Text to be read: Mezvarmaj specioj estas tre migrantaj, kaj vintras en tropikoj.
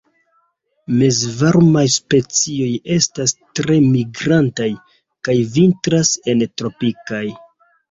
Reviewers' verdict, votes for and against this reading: accepted, 2, 0